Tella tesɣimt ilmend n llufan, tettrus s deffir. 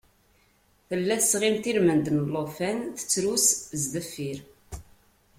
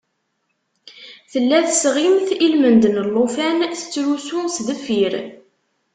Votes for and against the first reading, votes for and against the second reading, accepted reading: 2, 0, 1, 2, first